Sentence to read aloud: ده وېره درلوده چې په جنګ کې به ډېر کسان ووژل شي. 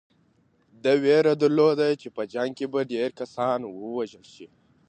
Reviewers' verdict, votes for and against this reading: accepted, 2, 0